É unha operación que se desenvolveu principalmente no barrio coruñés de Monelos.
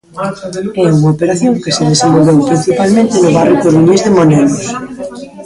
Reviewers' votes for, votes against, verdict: 0, 2, rejected